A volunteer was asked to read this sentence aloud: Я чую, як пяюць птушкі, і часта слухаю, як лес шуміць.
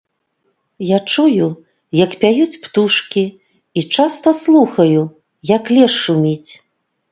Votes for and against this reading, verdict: 2, 0, accepted